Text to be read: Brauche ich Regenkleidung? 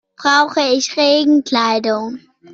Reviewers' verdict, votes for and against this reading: accepted, 2, 0